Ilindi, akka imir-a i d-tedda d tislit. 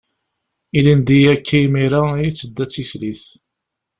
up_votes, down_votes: 0, 2